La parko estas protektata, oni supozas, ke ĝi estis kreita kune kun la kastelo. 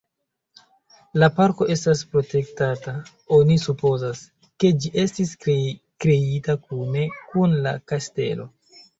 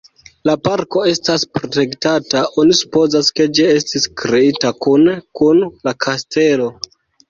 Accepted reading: second